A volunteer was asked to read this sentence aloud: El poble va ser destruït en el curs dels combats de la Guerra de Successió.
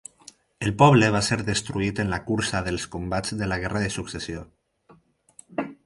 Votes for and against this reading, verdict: 0, 4, rejected